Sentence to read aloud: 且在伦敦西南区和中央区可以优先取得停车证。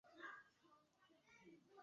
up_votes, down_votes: 2, 4